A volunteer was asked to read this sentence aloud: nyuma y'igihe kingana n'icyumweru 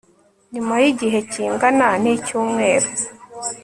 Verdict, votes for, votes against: accepted, 2, 0